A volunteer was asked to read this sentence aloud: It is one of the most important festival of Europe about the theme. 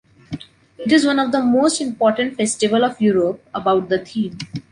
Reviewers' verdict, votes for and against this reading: accepted, 2, 0